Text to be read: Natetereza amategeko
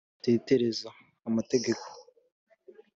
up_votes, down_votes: 2, 0